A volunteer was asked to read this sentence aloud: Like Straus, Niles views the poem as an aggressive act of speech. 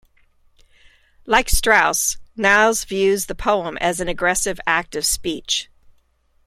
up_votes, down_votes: 2, 0